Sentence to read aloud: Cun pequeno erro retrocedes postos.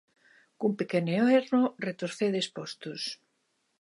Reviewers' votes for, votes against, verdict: 1, 2, rejected